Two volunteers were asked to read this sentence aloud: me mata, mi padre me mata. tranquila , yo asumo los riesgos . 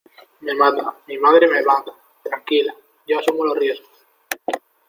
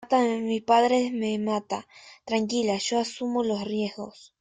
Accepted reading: first